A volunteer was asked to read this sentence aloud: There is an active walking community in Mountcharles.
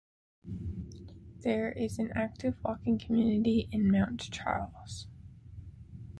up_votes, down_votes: 1, 2